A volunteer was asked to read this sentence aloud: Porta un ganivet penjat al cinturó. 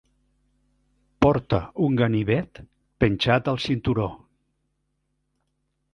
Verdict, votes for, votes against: accepted, 3, 0